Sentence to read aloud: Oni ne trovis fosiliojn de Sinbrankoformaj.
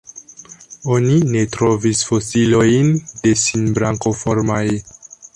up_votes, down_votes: 2, 1